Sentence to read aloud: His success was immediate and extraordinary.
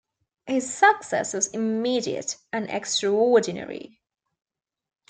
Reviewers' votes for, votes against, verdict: 1, 2, rejected